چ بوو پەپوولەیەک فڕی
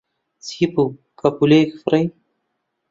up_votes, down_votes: 0, 2